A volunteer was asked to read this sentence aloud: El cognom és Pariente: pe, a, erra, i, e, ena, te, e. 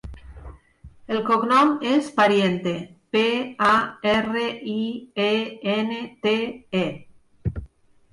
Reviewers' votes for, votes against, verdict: 1, 2, rejected